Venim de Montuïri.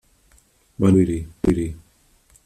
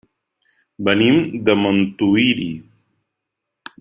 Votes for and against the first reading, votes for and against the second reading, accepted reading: 1, 2, 3, 0, second